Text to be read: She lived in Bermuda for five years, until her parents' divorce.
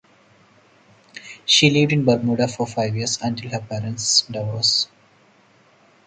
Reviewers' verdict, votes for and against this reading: accepted, 4, 0